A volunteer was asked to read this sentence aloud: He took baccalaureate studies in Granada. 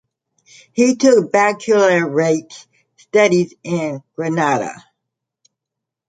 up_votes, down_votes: 0, 2